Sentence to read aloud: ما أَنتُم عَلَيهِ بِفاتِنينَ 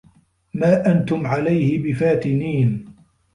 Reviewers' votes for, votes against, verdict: 2, 0, accepted